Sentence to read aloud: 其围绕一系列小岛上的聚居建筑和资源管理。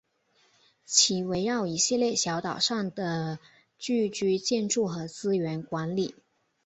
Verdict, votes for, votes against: accepted, 2, 0